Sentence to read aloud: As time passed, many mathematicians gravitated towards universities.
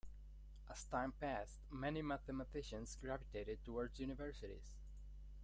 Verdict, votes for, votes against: accepted, 2, 1